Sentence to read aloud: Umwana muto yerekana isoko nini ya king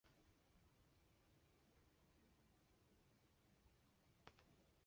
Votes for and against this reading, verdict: 0, 2, rejected